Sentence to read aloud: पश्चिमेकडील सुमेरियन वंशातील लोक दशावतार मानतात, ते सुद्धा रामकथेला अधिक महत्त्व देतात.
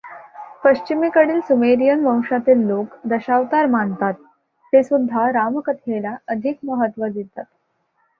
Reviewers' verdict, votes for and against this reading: accepted, 2, 0